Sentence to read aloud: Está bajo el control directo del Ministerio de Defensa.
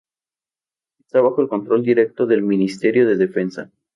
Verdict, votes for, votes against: accepted, 4, 0